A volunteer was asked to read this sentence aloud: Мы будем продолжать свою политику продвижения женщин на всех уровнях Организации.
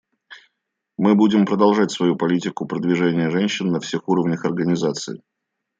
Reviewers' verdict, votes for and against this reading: accepted, 2, 0